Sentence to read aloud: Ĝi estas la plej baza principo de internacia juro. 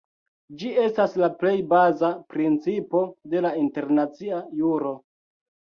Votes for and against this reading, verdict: 1, 2, rejected